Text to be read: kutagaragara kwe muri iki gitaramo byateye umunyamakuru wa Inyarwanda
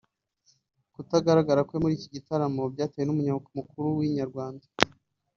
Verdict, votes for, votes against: rejected, 0, 3